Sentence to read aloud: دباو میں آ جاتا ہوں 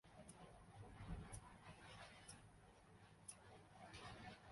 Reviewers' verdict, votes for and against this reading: rejected, 0, 2